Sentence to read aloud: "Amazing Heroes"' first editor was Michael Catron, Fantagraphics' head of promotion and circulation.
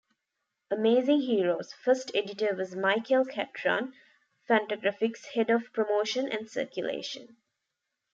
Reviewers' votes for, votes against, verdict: 2, 0, accepted